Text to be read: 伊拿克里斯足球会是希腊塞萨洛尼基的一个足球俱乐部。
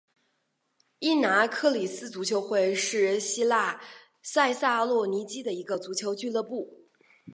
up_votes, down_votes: 2, 0